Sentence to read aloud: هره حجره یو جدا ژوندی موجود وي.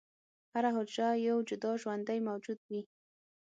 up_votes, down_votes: 6, 0